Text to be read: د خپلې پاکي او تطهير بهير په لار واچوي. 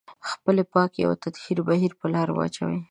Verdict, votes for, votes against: accepted, 2, 1